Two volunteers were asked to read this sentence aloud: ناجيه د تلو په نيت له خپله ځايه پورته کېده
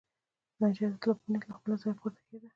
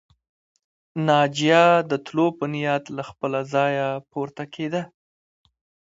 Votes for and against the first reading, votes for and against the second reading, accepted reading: 1, 2, 2, 1, second